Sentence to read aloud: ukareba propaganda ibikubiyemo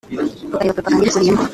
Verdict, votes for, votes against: rejected, 0, 2